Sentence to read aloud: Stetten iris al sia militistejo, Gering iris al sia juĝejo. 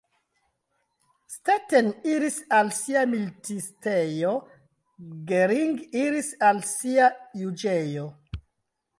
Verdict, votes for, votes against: rejected, 1, 2